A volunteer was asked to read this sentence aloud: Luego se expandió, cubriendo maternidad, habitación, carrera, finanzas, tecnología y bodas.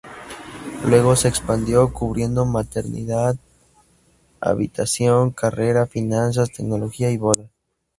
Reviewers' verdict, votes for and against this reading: rejected, 0, 2